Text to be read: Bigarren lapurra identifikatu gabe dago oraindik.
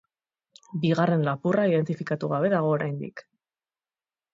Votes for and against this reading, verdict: 6, 0, accepted